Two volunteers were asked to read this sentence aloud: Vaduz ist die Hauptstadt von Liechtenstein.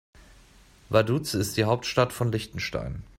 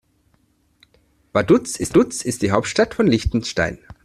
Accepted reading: first